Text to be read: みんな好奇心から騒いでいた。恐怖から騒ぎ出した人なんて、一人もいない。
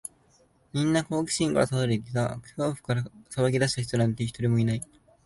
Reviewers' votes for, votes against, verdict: 0, 2, rejected